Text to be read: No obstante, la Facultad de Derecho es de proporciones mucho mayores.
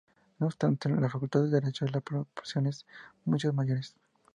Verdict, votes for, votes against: accepted, 2, 0